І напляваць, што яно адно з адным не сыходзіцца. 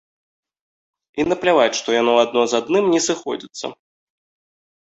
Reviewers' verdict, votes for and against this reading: accepted, 2, 0